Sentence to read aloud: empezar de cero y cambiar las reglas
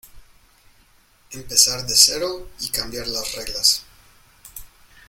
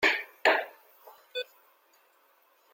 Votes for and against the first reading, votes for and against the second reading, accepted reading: 2, 0, 0, 2, first